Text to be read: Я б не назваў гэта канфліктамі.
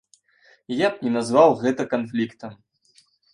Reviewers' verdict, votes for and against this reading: rejected, 2, 3